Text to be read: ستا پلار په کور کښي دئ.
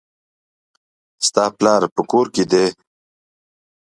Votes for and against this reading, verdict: 2, 0, accepted